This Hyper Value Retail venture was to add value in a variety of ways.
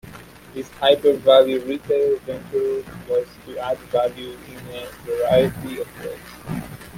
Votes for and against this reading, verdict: 1, 2, rejected